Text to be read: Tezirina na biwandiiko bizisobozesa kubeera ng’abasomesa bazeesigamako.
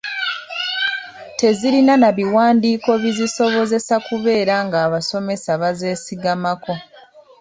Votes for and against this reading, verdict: 2, 0, accepted